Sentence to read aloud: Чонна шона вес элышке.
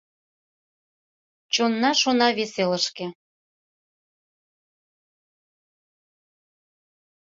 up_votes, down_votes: 2, 0